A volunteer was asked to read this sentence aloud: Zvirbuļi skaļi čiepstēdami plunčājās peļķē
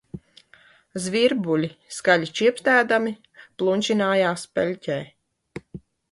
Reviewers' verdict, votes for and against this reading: rejected, 0, 2